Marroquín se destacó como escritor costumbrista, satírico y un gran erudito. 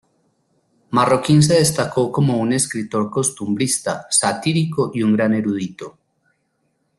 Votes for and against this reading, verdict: 0, 2, rejected